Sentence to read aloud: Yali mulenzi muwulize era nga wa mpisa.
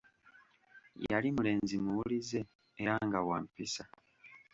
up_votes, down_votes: 2, 0